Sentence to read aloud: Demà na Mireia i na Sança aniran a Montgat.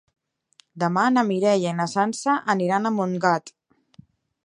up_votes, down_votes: 3, 0